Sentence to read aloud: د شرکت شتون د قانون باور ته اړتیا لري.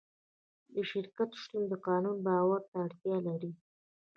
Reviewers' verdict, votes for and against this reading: accepted, 2, 1